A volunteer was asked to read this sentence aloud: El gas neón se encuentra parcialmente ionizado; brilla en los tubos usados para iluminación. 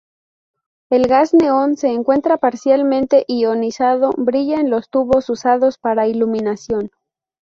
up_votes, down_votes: 2, 0